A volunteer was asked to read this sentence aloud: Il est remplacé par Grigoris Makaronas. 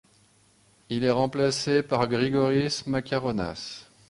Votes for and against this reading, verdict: 2, 0, accepted